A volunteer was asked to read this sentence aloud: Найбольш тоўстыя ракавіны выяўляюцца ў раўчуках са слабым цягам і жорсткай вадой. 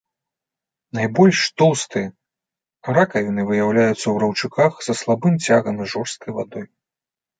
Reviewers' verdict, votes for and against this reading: accepted, 2, 0